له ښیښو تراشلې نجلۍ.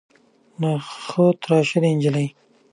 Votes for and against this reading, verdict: 2, 1, accepted